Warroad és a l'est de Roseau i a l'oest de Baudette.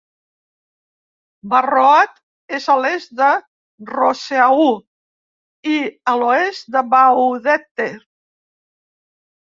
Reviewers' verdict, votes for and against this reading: rejected, 1, 2